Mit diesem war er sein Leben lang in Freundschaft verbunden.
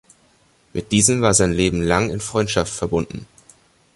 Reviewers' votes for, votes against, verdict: 0, 2, rejected